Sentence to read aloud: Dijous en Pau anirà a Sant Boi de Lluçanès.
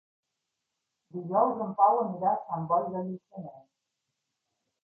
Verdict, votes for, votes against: rejected, 0, 3